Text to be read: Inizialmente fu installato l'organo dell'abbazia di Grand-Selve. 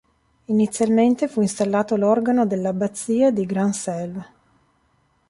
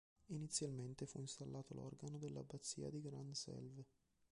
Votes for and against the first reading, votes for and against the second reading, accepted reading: 2, 0, 1, 2, first